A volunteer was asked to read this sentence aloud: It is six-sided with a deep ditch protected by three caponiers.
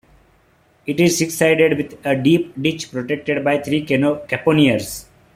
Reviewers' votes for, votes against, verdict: 0, 2, rejected